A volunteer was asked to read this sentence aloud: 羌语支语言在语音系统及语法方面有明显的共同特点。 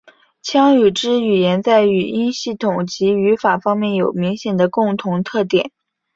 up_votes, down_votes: 2, 0